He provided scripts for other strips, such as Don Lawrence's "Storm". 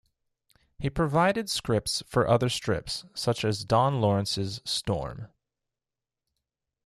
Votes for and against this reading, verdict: 2, 0, accepted